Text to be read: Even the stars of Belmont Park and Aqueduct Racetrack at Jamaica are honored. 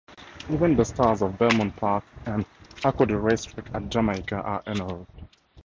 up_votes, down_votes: 0, 4